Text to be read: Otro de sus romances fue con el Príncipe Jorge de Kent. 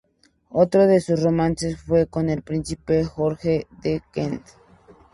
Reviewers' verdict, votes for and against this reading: accepted, 2, 0